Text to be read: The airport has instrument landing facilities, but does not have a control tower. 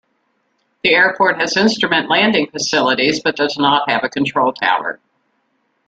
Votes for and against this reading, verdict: 2, 0, accepted